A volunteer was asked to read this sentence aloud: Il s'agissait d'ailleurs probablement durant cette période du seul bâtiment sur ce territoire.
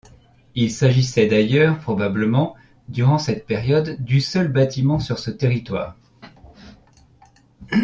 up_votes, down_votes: 3, 0